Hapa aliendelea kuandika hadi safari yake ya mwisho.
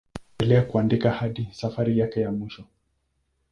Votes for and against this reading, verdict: 0, 2, rejected